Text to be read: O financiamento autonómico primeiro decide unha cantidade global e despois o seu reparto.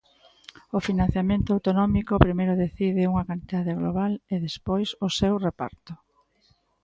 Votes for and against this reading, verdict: 2, 0, accepted